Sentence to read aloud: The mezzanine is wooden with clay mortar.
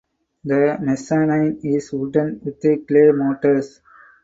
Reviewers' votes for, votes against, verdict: 2, 8, rejected